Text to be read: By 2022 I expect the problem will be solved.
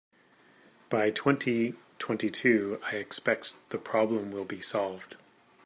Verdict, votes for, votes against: rejected, 0, 2